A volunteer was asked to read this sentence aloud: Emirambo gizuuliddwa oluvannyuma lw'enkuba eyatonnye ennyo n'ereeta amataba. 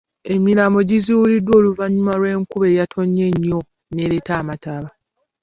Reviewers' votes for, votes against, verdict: 2, 0, accepted